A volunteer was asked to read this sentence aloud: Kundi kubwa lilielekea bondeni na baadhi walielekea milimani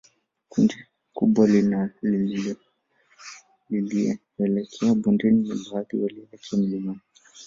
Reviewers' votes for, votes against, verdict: 0, 2, rejected